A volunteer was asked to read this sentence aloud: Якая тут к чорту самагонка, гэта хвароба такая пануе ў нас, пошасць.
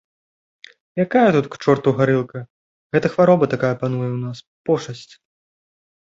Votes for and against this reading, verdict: 0, 2, rejected